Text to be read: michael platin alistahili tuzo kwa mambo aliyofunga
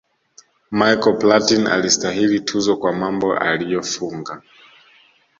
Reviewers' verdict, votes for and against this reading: accepted, 2, 0